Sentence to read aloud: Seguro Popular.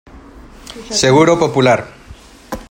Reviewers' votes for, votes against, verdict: 2, 0, accepted